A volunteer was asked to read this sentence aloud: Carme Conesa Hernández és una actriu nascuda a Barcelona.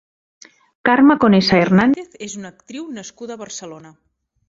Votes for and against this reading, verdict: 1, 2, rejected